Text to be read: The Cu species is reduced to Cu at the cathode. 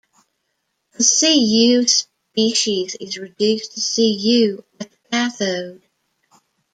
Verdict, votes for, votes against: rejected, 1, 2